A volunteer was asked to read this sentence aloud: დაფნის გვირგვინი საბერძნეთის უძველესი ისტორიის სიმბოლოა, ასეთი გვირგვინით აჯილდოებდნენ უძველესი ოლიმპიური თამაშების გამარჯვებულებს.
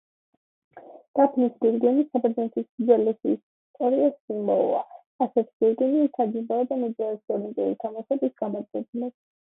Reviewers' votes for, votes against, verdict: 0, 2, rejected